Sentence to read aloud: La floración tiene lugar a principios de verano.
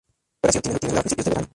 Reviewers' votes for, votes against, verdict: 0, 2, rejected